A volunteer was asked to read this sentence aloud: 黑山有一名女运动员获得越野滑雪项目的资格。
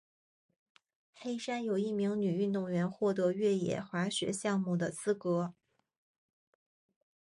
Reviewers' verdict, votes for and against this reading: accepted, 2, 0